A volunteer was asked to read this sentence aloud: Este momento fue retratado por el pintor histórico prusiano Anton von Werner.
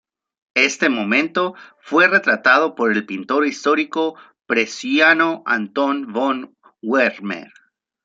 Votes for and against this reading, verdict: 1, 2, rejected